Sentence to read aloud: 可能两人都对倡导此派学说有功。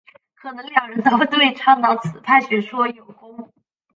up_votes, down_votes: 0, 2